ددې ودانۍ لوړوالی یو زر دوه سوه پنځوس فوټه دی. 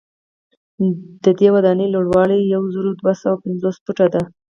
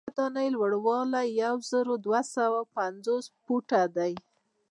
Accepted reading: first